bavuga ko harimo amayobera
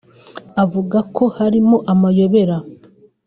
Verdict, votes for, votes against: rejected, 1, 2